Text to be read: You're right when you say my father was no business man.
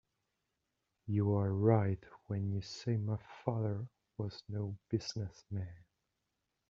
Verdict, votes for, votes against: rejected, 1, 2